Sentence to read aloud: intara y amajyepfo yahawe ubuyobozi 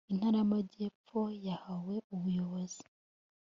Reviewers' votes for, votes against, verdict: 2, 0, accepted